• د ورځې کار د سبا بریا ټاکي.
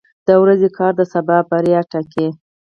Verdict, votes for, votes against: rejected, 0, 4